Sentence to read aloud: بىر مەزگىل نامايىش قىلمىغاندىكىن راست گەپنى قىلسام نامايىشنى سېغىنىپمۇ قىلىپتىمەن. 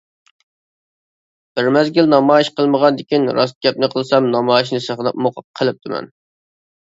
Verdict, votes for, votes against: rejected, 1, 2